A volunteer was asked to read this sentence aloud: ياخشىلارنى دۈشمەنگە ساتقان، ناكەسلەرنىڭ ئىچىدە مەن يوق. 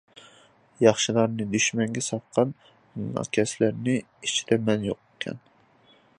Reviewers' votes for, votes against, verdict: 0, 2, rejected